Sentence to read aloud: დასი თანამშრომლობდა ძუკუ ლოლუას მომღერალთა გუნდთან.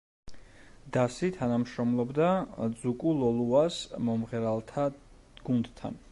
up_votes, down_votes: 1, 2